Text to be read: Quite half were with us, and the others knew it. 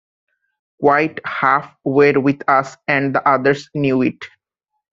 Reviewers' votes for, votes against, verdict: 1, 2, rejected